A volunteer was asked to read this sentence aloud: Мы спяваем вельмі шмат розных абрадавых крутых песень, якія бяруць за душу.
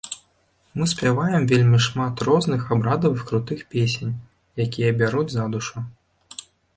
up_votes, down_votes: 2, 1